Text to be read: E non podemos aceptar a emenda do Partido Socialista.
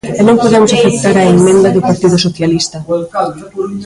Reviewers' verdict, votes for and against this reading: rejected, 1, 2